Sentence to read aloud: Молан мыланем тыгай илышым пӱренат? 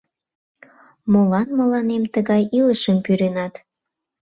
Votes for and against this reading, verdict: 2, 0, accepted